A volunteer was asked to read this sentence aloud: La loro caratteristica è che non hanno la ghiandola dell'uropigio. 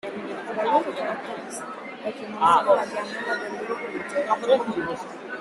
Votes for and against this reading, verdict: 0, 3, rejected